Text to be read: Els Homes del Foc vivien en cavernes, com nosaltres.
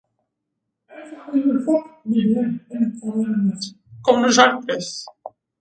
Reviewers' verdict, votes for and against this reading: rejected, 0, 4